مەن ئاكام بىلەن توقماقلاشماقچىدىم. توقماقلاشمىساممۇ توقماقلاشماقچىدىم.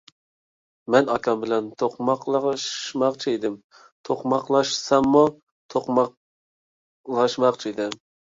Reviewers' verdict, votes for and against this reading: rejected, 0, 2